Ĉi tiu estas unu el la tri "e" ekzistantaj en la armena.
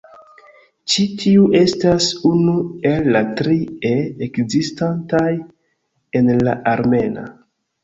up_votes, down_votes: 0, 2